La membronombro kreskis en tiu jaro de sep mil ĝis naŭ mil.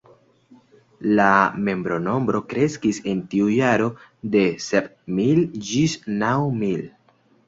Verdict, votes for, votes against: accepted, 2, 0